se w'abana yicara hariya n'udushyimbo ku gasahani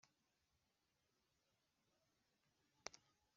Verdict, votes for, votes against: rejected, 1, 2